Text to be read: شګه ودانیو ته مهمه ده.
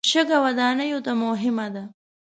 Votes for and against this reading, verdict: 2, 0, accepted